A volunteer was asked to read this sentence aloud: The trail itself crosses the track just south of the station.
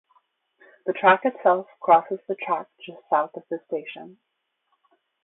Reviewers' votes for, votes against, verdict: 0, 2, rejected